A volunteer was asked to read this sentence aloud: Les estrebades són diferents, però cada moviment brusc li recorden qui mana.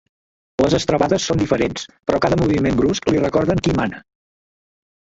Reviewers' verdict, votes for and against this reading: accepted, 2, 1